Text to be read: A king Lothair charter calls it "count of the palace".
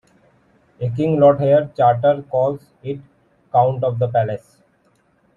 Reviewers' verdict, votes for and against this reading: accepted, 2, 1